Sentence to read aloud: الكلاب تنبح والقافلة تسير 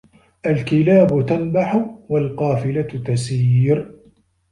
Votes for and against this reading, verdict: 2, 0, accepted